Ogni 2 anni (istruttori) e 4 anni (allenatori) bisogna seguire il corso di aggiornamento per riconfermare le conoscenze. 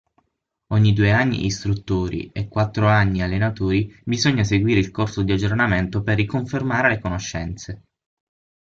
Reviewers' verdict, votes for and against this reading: rejected, 0, 2